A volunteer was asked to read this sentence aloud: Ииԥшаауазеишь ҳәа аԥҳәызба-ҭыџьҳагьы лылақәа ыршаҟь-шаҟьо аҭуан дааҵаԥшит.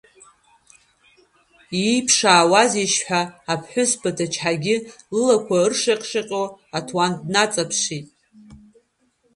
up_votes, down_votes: 0, 2